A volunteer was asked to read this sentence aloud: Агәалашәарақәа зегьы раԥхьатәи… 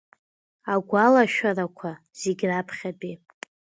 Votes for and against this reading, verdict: 2, 0, accepted